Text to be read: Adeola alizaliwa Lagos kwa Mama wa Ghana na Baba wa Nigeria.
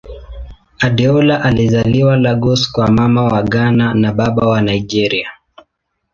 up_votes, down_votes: 2, 0